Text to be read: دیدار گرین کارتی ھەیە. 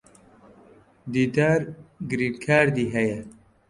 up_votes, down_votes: 1, 2